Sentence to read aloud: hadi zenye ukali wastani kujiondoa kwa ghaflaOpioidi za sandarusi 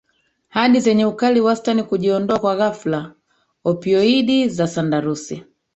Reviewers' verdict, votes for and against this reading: rejected, 1, 2